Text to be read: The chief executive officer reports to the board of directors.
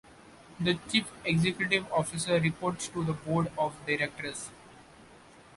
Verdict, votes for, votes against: accepted, 2, 0